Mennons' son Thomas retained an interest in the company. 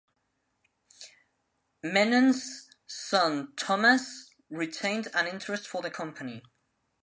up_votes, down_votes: 0, 2